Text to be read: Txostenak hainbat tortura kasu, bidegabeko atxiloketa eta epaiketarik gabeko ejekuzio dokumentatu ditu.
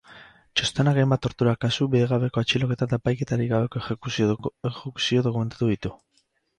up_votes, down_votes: 0, 2